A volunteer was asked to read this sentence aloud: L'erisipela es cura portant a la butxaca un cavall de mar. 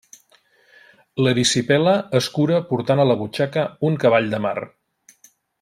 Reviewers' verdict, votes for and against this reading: rejected, 1, 2